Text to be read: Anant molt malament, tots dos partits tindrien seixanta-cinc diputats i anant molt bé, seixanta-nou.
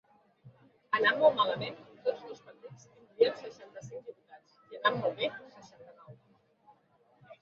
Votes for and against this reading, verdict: 0, 3, rejected